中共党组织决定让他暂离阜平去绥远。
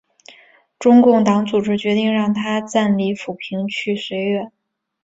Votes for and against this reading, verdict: 2, 0, accepted